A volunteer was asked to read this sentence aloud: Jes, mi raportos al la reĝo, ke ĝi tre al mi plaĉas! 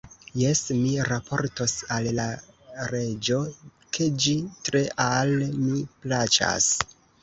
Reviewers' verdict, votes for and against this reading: accepted, 2, 1